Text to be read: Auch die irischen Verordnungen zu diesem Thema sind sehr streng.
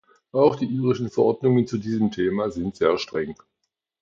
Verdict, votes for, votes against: accepted, 2, 0